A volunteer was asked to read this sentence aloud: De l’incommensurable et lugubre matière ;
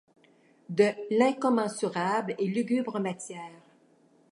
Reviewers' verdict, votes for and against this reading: accepted, 2, 0